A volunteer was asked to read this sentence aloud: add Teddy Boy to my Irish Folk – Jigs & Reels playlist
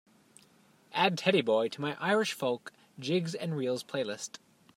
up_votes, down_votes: 2, 0